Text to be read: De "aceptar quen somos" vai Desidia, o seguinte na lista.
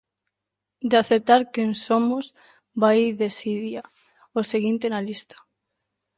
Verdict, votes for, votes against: accepted, 2, 0